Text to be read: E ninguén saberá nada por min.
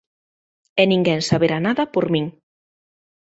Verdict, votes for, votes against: accepted, 2, 0